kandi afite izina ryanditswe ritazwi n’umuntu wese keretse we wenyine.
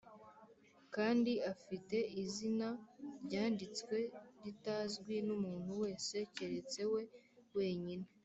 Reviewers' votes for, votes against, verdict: 2, 0, accepted